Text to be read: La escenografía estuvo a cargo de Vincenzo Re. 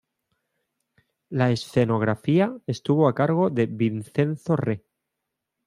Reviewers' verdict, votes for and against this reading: accepted, 2, 0